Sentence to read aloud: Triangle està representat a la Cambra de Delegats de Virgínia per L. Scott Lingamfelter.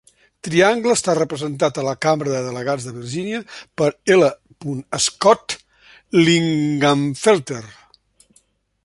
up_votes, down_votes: 1, 2